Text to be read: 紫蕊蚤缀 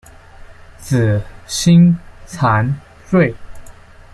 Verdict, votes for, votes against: rejected, 1, 3